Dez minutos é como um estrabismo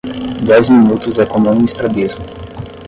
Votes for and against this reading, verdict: 10, 0, accepted